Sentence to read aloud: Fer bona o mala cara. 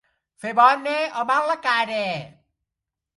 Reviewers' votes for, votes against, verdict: 1, 2, rejected